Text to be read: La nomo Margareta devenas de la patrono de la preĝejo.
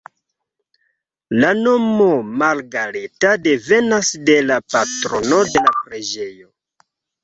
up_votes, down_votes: 1, 2